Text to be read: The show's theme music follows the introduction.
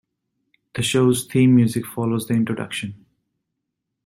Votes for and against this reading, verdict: 2, 0, accepted